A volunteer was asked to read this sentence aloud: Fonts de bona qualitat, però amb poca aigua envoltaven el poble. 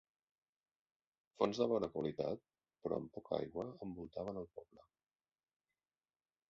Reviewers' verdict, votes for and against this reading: accepted, 2, 1